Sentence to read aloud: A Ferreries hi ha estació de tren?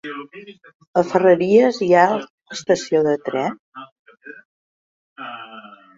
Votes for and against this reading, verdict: 0, 2, rejected